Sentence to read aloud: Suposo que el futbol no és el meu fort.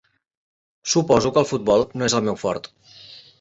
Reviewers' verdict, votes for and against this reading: accepted, 3, 0